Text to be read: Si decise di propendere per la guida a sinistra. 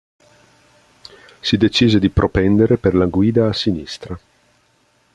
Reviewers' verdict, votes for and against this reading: accepted, 3, 0